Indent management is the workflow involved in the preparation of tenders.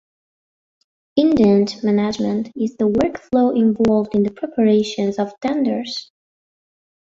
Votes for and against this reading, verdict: 1, 2, rejected